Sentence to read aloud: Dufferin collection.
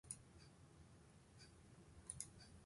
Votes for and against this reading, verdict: 0, 2, rejected